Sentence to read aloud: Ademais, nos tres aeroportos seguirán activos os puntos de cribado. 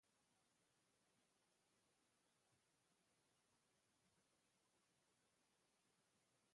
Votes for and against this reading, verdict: 0, 2, rejected